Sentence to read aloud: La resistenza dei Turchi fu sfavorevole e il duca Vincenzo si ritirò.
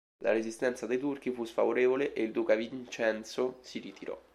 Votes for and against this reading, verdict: 2, 0, accepted